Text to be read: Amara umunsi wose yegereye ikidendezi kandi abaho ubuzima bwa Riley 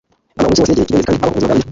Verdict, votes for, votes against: rejected, 0, 2